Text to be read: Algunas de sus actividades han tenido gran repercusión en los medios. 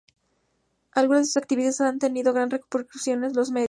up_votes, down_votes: 2, 2